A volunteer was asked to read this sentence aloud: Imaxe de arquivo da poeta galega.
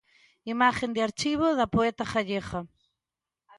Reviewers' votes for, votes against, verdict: 0, 3, rejected